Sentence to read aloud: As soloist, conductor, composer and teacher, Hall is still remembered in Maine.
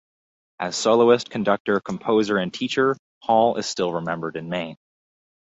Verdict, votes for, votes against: rejected, 2, 2